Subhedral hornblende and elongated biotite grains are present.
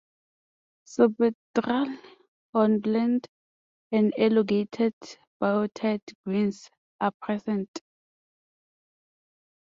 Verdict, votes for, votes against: rejected, 1, 6